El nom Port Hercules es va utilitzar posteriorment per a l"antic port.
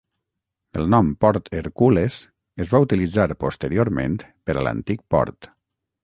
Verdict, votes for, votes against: rejected, 3, 3